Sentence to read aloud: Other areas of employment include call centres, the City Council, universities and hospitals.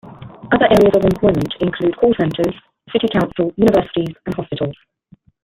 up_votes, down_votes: 2, 1